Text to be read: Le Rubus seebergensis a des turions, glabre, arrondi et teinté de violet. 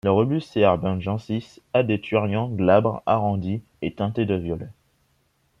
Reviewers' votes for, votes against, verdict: 2, 0, accepted